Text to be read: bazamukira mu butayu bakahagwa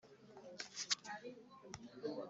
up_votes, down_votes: 1, 2